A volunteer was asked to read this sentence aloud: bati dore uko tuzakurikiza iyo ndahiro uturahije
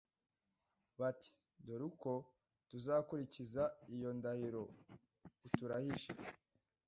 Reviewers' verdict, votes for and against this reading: rejected, 1, 2